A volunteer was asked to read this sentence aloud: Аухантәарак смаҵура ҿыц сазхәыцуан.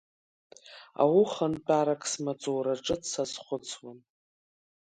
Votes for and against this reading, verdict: 1, 2, rejected